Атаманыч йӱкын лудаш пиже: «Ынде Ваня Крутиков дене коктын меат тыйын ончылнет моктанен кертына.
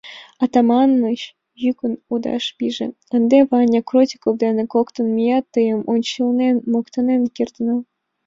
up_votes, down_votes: 2, 0